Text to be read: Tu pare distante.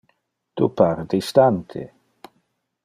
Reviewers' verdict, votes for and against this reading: accepted, 2, 0